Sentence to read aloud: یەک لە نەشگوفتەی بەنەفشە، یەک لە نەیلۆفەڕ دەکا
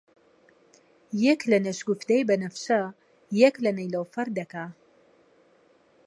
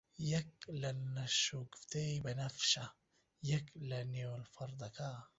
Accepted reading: first